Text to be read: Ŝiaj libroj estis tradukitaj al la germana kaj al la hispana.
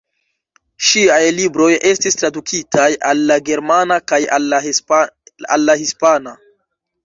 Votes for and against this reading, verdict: 1, 2, rejected